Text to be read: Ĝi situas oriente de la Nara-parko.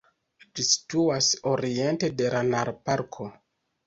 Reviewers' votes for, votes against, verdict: 0, 2, rejected